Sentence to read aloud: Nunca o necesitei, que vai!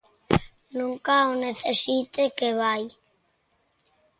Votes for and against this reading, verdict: 0, 3, rejected